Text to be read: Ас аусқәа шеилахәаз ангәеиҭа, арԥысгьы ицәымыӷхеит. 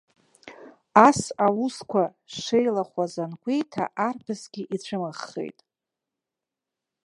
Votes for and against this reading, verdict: 2, 0, accepted